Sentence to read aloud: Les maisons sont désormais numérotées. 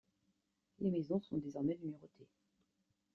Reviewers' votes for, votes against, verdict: 2, 1, accepted